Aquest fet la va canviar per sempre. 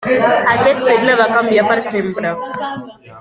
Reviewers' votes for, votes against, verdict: 1, 2, rejected